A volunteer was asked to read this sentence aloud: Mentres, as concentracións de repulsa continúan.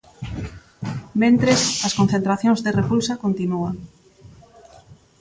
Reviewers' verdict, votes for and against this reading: accepted, 2, 1